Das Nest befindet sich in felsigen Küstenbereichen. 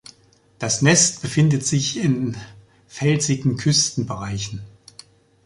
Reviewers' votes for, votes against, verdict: 2, 1, accepted